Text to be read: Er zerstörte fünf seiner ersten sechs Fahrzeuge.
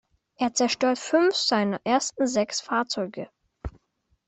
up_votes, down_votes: 1, 2